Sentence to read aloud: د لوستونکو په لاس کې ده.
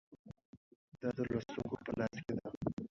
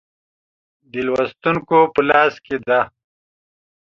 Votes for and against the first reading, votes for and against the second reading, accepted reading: 1, 2, 2, 0, second